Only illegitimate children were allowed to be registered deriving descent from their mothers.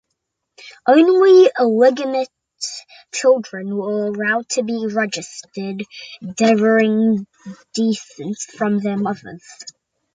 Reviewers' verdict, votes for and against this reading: rejected, 0, 2